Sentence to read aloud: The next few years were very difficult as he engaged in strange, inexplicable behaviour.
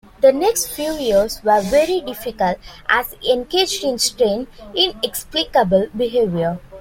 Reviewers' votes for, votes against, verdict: 0, 2, rejected